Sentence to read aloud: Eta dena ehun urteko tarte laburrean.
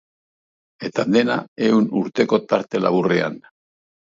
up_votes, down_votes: 3, 0